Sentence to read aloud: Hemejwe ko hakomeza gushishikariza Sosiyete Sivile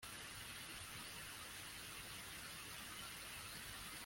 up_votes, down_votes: 0, 2